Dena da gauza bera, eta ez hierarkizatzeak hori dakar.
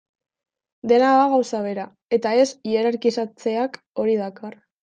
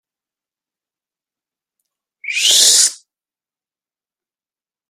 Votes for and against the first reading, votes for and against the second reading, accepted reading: 2, 0, 0, 2, first